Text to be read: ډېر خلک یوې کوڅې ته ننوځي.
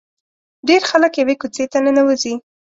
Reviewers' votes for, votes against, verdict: 2, 0, accepted